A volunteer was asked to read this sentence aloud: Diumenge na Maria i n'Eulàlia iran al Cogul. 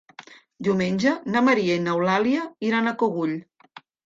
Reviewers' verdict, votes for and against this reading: rejected, 1, 2